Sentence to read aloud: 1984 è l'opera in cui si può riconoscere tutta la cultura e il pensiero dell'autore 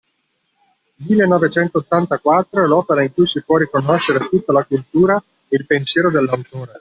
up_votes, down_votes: 0, 2